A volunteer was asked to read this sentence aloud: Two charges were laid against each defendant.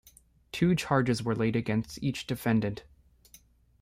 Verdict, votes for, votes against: rejected, 1, 2